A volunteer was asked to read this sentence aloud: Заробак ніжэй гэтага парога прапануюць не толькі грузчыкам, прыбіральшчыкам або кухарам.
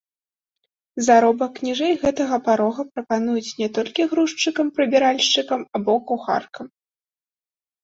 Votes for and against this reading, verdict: 1, 2, rejected